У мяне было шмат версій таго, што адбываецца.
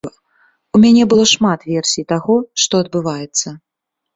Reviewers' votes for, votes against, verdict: 2, 0, accepted